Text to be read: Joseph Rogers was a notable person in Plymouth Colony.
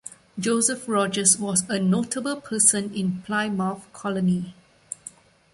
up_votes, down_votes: 0, 2